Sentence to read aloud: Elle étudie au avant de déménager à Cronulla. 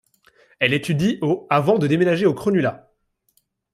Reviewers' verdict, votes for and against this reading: rejected, 1, 2